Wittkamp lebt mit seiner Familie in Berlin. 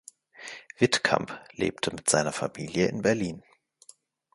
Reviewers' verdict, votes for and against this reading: rejected, 1, 2